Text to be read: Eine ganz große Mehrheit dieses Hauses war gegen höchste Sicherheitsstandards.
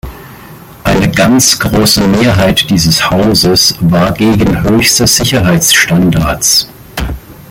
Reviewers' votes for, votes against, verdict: 2, 0, accepted